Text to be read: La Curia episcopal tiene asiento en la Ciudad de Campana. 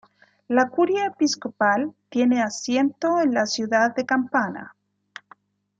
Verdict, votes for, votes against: accepted, 2, 0